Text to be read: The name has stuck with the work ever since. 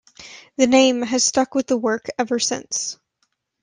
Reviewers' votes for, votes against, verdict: 2, 0, accepted